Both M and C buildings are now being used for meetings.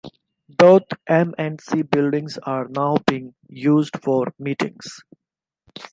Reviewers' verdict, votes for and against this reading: accepted, 2, 1